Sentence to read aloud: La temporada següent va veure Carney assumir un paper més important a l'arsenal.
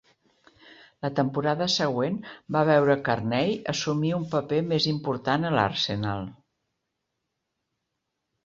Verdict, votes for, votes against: rejected, 0, 2